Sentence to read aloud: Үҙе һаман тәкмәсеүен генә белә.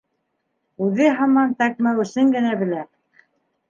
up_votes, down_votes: 0, 2